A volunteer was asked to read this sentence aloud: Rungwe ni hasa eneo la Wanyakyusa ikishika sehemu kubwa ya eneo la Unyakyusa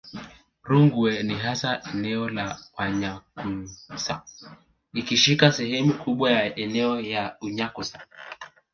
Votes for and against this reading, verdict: 1, 2, rejected